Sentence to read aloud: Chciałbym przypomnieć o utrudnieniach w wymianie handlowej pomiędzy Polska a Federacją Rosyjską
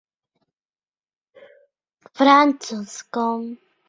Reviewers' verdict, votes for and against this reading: rejected, 0, 2